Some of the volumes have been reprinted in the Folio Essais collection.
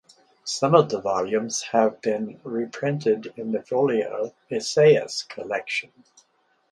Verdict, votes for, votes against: rejected, 0, 4